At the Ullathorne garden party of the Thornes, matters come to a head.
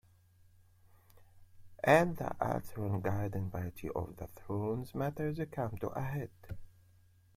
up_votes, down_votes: 0, 2